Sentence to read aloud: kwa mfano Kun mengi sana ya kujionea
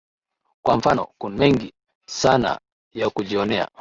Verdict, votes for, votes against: rejected, 0, 2